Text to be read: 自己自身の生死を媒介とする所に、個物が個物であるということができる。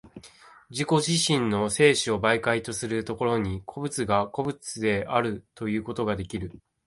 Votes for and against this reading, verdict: 2, 0, accepted